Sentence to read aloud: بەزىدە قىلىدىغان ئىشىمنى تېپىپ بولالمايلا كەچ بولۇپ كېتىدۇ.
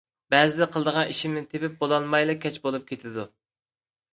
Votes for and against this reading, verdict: 2, 0, accepted